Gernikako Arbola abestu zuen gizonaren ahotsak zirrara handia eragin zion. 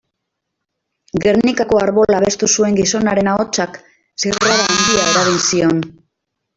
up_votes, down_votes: 0, 2